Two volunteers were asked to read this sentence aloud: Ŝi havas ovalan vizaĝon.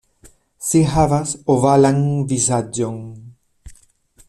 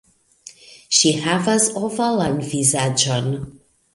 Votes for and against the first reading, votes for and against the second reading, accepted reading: 0, 2, 2, 0, second